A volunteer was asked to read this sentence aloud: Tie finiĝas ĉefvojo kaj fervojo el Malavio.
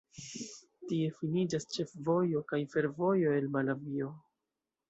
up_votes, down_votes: 2, 0